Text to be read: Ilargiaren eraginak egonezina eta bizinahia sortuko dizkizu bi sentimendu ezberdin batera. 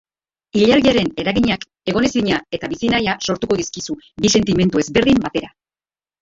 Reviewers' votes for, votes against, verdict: 3, 2, accepted